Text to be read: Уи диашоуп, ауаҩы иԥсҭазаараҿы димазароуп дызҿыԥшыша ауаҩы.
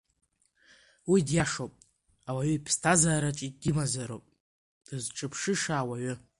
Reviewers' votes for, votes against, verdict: 2, 0, accepted